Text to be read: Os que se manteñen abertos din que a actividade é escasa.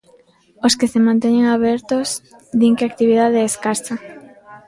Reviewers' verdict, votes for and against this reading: rejected, 0, 2